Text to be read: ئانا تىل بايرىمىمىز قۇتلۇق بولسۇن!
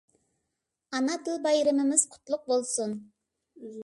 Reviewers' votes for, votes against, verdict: 2, 0, accepted